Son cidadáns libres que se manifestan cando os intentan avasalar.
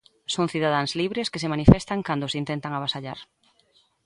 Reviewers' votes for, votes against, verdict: 0, 2, rejected